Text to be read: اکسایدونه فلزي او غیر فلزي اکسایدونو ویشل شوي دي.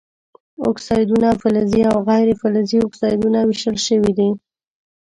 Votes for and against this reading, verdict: 1, 2, rejected